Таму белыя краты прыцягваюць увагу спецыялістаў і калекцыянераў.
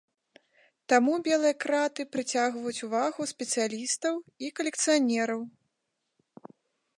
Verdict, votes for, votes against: rejected, 1, 2